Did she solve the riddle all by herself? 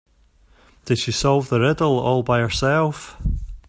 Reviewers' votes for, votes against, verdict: 2, 0, accepted